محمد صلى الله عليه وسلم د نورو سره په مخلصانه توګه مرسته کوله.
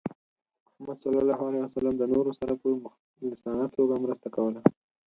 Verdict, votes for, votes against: rejected, 0, 4